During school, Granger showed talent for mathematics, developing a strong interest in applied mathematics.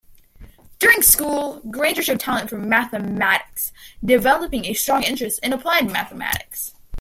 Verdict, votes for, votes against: rejected, 1, 2